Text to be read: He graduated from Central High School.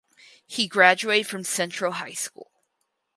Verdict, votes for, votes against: rejected, 0, 4